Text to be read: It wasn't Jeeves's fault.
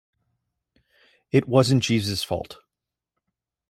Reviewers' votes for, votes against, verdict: 2, 0, accepted